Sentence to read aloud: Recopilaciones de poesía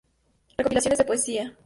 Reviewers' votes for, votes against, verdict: 0, 4, rejected